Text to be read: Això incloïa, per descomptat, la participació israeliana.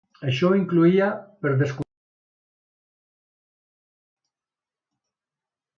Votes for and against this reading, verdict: 1, 2, rejected